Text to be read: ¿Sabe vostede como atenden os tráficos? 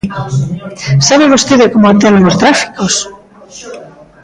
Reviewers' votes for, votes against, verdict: 0, 2, rejected